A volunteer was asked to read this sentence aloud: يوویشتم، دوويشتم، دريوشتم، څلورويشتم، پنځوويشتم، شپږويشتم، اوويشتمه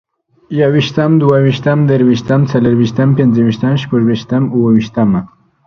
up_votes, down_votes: 2, 0